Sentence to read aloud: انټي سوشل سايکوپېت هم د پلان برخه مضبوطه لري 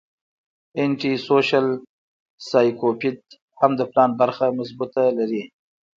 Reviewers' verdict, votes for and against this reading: accepted, 2, 1